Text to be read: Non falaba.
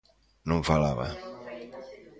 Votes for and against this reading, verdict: 1, 2, rejected